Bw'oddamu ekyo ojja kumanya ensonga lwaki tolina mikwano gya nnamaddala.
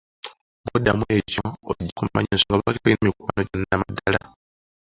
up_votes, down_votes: 0, 2